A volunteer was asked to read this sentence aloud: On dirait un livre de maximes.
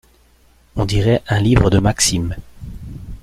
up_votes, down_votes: 2, 0